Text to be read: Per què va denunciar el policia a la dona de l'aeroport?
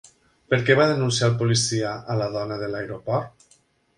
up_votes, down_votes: 2, 0